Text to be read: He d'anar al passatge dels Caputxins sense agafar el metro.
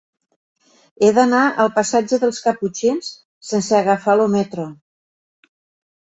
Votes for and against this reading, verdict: 0, 2, rejected